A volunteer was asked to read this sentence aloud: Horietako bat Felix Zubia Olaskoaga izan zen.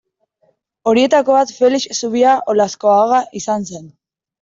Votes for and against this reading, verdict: 2, 0, accepted